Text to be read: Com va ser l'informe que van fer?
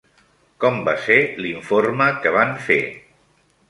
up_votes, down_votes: 1, 2